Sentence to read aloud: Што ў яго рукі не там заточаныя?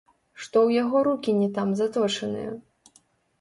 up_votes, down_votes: 1, 2